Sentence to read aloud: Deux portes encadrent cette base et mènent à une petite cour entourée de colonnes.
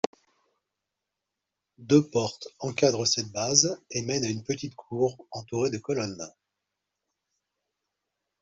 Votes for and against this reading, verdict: 2, 0, accepted